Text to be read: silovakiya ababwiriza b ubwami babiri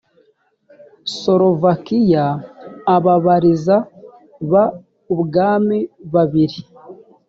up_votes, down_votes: 0, 2